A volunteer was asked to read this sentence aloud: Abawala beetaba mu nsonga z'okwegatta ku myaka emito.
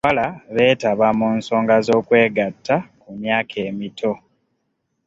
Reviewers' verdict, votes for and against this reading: accepted, 2, 0